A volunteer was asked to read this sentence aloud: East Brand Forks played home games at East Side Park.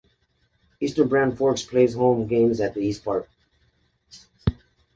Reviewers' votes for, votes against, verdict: 0, 2, rejected